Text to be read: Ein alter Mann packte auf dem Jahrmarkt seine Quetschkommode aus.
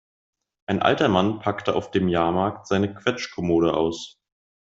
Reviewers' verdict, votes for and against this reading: accepted, 2, 0